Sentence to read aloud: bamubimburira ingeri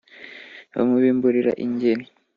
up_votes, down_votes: 2, 0